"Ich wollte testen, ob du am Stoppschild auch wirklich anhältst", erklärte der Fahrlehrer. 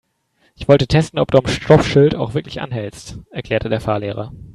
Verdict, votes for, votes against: rejected, 2, 3